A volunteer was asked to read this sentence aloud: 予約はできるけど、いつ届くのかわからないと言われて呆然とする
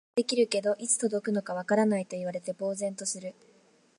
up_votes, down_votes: 4, 2